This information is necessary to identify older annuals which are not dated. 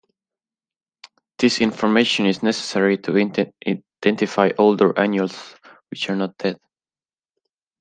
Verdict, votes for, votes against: rejected, 0, 2